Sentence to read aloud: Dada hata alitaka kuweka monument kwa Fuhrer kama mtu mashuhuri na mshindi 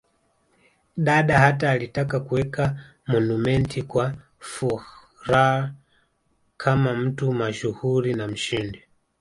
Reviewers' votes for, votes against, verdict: 1, 2, rejected